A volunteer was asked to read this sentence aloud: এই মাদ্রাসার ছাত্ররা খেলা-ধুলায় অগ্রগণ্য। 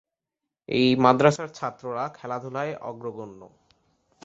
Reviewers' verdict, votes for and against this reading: accepted, 2, 0